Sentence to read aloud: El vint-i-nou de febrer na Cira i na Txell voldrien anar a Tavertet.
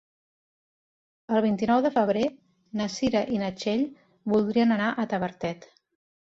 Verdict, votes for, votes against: accepted, 2, 0